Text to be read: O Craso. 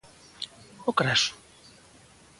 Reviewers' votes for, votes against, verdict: 2, 0, accepted